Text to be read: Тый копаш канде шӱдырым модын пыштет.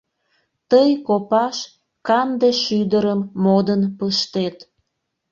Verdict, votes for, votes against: accepted, 2, 0